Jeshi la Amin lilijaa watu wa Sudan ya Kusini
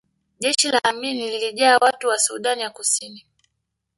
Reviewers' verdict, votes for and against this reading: rejected, 1, 2